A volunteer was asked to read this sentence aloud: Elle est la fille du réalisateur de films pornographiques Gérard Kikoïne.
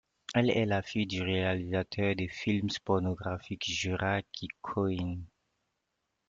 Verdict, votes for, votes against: rejected, 1, 2